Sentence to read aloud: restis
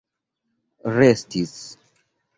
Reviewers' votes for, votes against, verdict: 2, 0, accepted